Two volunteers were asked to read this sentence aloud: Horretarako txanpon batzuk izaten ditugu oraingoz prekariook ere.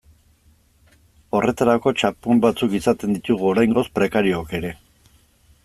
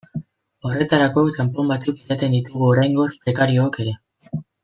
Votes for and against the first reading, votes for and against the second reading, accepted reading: 2, 0, 1, 2, first